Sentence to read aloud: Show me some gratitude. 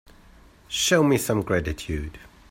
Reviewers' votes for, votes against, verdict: 3, 0, accepted